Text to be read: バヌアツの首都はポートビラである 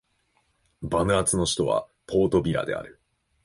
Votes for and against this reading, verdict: 2, 0, accepted